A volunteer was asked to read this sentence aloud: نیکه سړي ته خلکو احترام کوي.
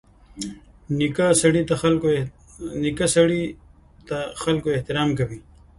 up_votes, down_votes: 2, 0